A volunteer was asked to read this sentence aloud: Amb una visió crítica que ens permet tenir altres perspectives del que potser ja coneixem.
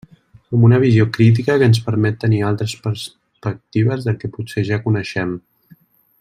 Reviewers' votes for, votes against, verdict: 0, 2, rejected